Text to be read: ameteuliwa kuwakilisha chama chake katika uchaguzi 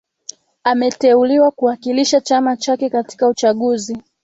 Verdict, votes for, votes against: accepted, 2, 0